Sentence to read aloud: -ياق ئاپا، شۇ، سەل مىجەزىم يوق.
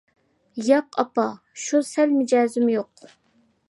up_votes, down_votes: 2, 0